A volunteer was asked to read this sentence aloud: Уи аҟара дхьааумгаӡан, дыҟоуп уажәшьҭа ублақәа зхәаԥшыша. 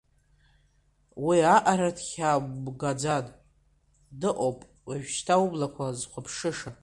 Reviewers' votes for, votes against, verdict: 1, 2, rejected